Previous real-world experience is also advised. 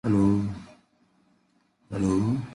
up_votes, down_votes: 0, 2